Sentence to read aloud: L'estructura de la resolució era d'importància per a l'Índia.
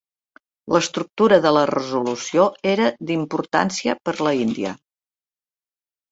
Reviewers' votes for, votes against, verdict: 0, 3, rejected